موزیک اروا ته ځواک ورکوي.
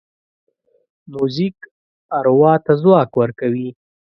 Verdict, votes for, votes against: accepted, 2, 0